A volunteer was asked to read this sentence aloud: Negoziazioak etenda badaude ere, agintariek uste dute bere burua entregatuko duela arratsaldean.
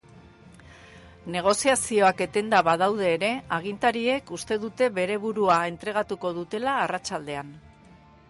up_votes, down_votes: 2, 2